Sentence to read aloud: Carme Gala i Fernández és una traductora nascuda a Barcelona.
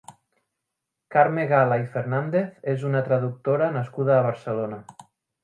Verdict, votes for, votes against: accepted, 3, 0